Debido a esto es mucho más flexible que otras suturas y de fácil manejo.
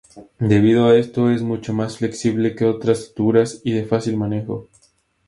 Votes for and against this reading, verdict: 2, 0, accepted